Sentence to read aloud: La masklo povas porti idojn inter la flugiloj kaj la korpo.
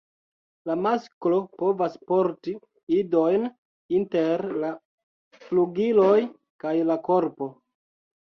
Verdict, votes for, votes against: rejected, 1, 2